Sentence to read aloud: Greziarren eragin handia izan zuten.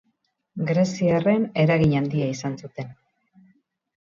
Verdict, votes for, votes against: rejected, 2, 2